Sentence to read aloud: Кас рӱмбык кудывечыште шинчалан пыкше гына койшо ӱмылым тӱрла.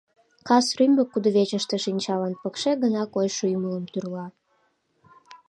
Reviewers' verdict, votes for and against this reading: accepted, 2, 0